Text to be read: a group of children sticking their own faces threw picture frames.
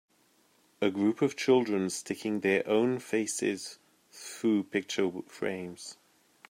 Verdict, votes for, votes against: rejected, 0, 2